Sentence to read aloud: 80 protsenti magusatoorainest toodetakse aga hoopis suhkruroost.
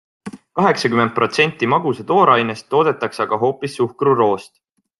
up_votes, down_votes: 0, 2